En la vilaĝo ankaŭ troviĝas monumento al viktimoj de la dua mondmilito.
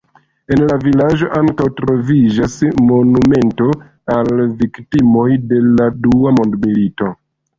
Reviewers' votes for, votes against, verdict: 2, 1, accepted